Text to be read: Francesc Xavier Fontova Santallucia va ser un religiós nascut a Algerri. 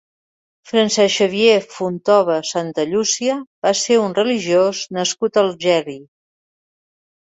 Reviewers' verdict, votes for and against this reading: accepted, 3, 0